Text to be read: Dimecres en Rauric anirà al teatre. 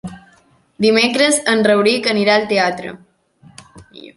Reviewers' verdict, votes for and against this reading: accepted, 3, 0